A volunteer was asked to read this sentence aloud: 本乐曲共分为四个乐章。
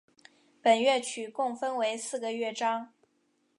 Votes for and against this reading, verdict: 3, 0, accepted